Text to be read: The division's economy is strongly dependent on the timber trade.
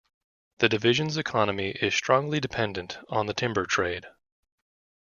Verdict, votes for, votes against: accepted, 2, 0